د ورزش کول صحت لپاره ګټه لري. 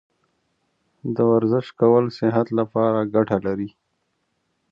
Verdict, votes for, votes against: accepted, 2, 0